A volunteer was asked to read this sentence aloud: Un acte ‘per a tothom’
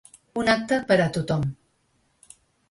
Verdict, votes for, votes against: accepted, 2, 0